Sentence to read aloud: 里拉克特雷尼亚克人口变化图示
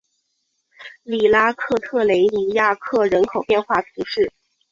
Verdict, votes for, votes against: accepted, 2, 0